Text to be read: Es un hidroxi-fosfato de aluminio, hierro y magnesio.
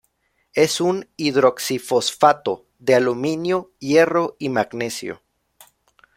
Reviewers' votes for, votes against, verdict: 2, 0, accepted